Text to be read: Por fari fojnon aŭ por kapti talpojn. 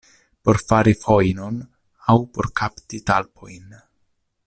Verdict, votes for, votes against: accepted, 2, 0